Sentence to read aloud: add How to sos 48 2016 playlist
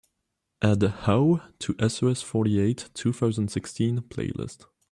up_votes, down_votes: 0, 2